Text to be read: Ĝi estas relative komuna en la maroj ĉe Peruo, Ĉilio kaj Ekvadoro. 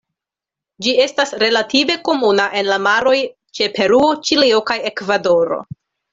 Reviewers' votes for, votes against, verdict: 2, 0, accepted